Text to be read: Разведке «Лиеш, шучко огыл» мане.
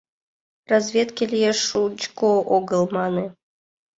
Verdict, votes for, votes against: accepted, 2, 0